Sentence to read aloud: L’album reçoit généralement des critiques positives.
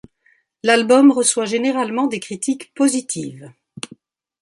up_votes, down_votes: 2, 0